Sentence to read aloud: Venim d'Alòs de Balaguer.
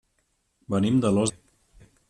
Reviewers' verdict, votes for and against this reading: rejected, 1, 2